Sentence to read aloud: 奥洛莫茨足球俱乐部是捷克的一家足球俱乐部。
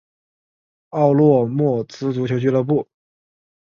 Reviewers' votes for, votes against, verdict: 0, 4, rejected